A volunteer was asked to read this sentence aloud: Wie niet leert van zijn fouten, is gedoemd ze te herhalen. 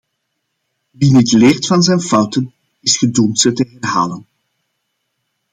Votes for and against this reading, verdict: 2, 1, accepted